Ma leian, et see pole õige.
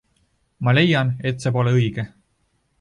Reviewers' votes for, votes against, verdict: 1, 2, rejected